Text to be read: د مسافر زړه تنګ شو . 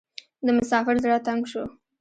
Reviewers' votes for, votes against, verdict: 0, 2, rejected